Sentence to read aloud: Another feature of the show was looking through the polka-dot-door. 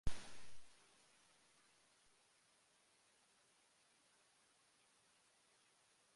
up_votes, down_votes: 0, 2